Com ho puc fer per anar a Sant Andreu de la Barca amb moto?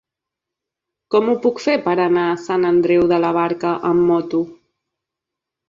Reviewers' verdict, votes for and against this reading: accepted, 2, 0